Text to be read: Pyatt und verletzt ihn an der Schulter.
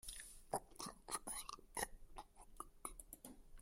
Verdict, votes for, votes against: rejected, 0, 2